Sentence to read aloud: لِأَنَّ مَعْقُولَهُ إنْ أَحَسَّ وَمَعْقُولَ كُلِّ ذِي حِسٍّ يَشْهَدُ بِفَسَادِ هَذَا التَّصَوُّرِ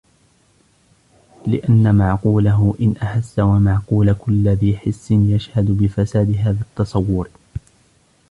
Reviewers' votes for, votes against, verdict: 0, 2, rejected